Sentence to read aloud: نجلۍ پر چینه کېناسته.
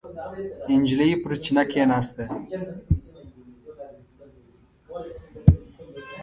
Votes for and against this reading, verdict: 2, 1, accepted